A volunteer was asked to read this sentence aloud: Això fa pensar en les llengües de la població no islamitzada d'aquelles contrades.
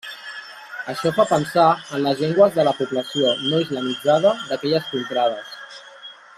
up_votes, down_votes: 1, 2